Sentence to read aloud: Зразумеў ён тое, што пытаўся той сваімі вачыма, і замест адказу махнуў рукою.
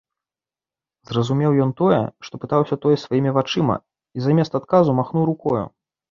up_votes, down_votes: 2, 0